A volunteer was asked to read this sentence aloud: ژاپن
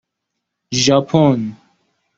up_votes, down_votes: 2, 0